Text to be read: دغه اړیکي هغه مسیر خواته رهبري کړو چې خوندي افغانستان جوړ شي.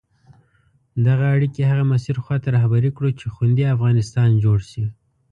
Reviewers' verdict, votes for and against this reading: accepted, 2, 0